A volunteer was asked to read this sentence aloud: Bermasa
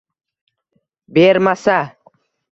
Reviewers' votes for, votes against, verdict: 2, 0, accepted